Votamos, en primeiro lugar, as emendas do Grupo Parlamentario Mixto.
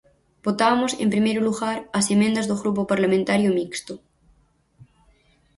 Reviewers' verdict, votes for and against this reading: rejected, 2, 2